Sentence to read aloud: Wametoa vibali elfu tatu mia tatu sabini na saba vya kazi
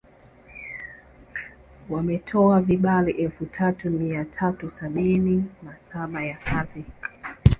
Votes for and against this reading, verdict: 1, 2, rejected